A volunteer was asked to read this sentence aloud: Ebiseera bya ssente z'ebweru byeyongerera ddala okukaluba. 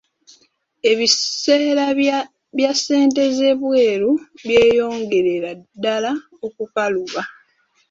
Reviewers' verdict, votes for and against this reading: accepted, 2, 0